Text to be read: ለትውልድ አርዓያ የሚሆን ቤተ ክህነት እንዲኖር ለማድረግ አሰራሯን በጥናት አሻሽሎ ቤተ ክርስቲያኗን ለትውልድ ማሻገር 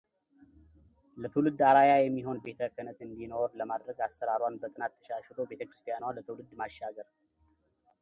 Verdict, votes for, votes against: accepted, 2, 0